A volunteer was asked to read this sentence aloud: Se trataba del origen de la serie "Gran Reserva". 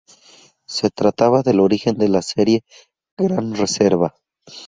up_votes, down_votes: 2, 2